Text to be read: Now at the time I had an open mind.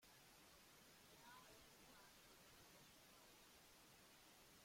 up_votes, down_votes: 0, 2